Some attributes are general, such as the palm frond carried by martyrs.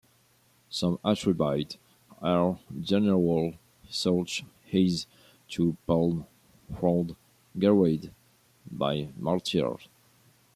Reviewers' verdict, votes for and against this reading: rejected, 0, 2